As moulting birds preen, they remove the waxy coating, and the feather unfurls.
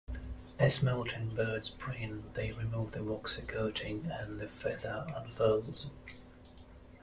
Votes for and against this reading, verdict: 1, 2, rejected